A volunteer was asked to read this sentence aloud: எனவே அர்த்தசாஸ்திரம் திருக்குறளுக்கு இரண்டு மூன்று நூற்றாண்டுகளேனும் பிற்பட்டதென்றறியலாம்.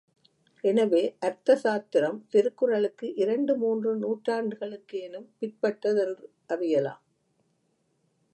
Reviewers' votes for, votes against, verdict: 0, 2, rejected